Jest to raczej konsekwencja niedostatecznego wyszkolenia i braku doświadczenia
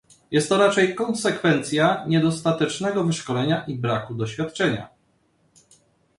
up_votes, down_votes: 2, 0